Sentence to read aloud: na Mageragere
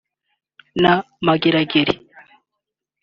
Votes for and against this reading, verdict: 2, 1, accepted